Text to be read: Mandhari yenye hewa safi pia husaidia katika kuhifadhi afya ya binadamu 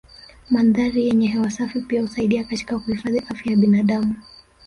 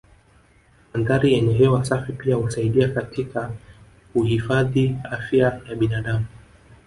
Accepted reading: first